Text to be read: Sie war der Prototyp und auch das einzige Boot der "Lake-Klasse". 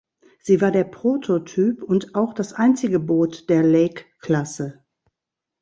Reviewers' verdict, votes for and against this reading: accepted, 2, 0